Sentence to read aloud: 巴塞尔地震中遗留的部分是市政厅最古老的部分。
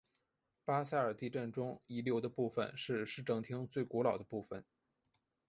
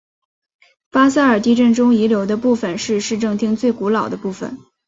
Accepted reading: second